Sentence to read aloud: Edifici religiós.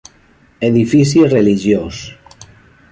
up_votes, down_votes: 2, 1